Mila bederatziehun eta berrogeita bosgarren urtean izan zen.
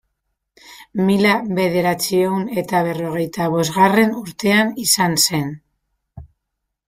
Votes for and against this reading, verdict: 0, 2, rejected